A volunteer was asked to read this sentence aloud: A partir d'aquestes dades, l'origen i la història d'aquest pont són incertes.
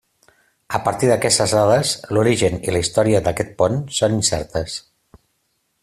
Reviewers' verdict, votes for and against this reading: accepted, 3, 0